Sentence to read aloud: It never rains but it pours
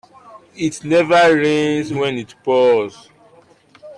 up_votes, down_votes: 0, 2